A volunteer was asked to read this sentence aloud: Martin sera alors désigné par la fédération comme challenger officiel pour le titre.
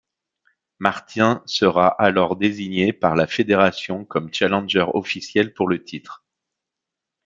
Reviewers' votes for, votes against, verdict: 1, 2, rejected